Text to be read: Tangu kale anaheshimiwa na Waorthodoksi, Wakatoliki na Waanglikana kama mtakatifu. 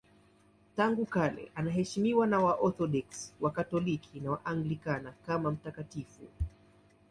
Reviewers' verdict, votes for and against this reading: accepted, 2, 0